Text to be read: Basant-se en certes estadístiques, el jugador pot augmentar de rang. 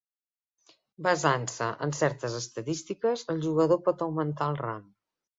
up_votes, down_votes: 0, 2